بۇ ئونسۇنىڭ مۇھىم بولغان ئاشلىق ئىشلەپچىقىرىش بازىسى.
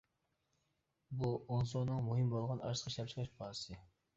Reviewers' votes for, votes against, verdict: 1, 2, rejected